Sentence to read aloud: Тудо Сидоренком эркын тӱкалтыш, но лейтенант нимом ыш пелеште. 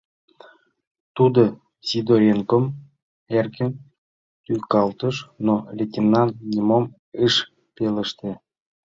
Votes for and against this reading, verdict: 1, 2, rejected